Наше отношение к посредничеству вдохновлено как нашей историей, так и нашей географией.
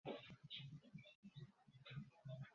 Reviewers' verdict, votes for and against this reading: rejected, 0, 2